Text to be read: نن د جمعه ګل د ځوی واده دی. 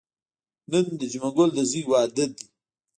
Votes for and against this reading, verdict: 2, 0, accepted